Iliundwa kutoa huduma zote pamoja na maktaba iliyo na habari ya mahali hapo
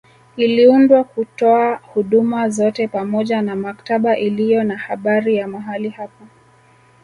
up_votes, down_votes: 1, 2